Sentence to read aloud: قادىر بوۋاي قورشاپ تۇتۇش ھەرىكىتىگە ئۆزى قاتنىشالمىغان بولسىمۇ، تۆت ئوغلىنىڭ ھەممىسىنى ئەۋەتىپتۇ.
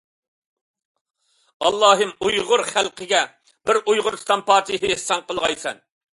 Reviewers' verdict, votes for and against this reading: rejected, 0, 2